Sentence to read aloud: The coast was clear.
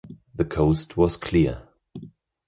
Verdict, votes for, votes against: accepted, 2, 0